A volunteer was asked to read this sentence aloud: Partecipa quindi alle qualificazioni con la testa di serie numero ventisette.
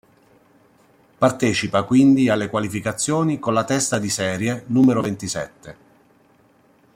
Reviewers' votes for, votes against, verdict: 2, 0, accepted